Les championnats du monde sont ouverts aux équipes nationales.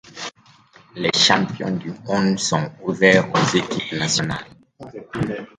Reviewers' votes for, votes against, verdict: 0, 2, rejected